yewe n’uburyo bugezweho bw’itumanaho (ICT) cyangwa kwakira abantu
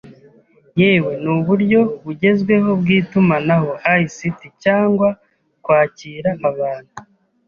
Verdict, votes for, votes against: accepted, 2, 0